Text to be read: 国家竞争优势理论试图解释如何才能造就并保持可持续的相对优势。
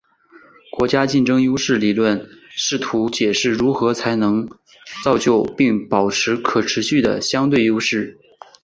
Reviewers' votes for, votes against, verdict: 4, 1, accepted